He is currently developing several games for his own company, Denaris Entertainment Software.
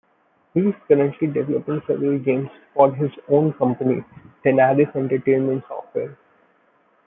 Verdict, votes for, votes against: rejected, 0, 2